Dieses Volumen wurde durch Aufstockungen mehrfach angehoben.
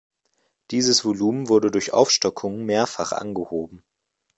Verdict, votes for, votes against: accepted, 2, 0